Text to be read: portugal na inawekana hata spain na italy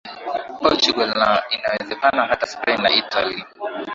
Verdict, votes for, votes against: accepted, 7, 3